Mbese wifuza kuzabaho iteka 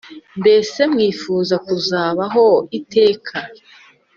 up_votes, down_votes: 4, 0